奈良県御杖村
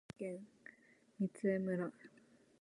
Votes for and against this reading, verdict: 0, 2, rejected